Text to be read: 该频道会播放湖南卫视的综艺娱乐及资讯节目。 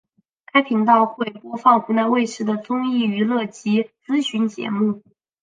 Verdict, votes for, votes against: rejected, 0, 2